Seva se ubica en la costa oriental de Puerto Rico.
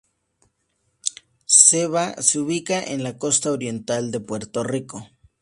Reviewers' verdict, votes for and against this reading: accepted, 2, 0